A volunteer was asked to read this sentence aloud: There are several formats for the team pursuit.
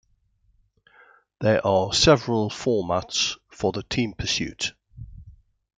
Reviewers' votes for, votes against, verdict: 2, 0, accepted